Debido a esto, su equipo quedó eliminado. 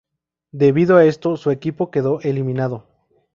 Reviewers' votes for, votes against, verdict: 2, 2, rejected